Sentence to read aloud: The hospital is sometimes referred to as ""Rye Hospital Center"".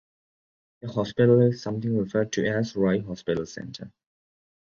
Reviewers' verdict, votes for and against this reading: rejected, 0, 2